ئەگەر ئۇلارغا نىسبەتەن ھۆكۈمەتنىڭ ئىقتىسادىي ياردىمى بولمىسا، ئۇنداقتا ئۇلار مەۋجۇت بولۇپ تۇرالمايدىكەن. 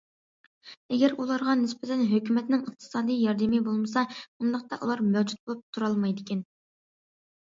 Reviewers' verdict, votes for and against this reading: accepted, 2, 0